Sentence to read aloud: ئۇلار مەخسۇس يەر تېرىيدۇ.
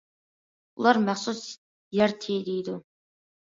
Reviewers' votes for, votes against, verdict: 1, 2, rejected